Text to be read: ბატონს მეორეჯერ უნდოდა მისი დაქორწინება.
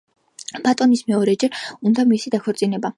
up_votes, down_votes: 0, 3